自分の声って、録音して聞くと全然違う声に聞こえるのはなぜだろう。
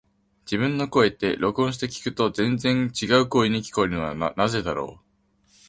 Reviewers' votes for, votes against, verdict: 2, 1, accepted